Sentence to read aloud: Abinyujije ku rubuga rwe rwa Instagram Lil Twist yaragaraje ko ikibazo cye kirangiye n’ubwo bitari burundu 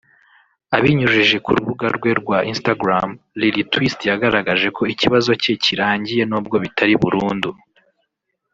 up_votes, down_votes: 1, 2